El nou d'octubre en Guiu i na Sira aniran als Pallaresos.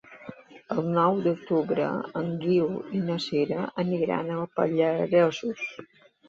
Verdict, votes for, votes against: rejected, 1, 2